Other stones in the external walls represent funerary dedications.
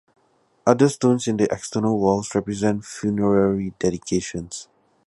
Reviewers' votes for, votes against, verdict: 2, 0, accepted